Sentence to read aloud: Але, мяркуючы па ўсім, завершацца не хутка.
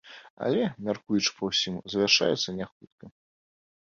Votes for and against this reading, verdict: 0, 2, rejected